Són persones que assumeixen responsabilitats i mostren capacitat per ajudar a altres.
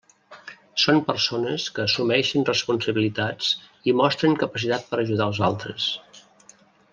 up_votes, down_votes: 0, 2